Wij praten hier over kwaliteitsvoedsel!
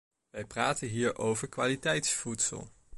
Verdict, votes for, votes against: accepted, 2, 0